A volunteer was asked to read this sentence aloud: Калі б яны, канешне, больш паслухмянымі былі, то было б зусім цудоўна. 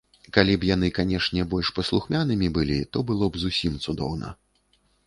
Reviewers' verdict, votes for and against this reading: accepted, 2, 0